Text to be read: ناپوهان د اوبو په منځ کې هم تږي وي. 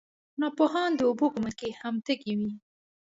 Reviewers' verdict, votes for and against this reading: accepted, 2, 1